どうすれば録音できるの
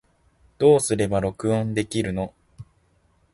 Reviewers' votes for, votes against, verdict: 4, 0, accepted